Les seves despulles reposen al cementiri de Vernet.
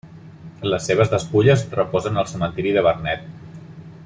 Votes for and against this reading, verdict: 3, 0, accepted